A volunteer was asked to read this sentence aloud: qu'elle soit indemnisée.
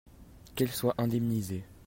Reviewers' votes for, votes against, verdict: 2, 0, accepted